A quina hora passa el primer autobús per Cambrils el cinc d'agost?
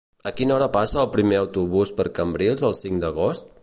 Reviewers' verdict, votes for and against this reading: accepted, 3, 0